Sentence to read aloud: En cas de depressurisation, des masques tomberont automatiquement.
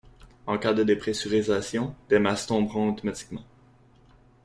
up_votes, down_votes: 2, 1